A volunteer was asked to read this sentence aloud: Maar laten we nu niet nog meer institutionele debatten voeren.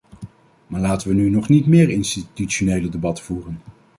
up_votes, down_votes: 2, 0